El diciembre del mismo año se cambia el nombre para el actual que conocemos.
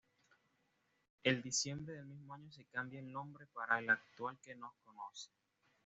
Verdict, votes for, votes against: rejected, 1, 2